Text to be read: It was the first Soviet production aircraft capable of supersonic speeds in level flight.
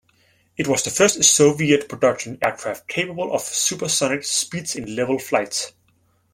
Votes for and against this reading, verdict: 2, 0, accepted